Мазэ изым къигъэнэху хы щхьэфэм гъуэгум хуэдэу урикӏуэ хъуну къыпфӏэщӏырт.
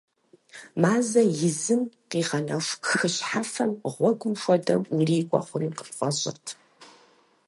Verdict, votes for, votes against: accepted, 4, 0